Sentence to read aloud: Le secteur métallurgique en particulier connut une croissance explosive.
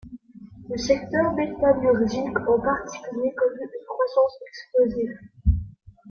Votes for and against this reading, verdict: 0, 2, rejected